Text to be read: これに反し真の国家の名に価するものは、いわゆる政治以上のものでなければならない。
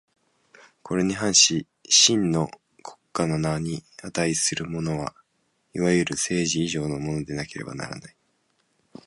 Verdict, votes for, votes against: accepted, 2, 0